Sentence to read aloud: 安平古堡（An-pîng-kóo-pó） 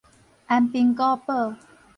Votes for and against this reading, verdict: 4, 0, accepted